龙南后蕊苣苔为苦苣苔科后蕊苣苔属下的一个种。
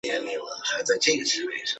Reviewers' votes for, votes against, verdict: 0, 2, rejected